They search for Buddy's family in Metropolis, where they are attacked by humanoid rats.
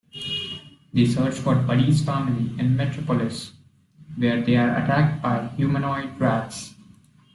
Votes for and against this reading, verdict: 2, 0, accepted